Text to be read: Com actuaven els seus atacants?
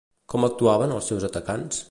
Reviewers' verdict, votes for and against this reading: accepted, 2, 0